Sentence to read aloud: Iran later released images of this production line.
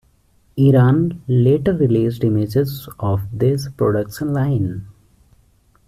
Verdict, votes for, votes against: accepted, 2, 0